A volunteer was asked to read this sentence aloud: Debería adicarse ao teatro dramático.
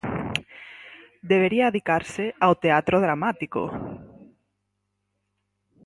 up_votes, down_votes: 4, 0